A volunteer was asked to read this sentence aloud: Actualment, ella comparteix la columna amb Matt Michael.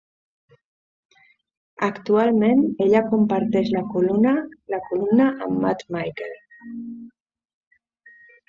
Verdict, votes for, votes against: rejected, 0, 2